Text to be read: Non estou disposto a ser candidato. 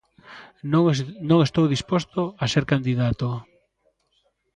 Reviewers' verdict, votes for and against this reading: rejected, 0, 2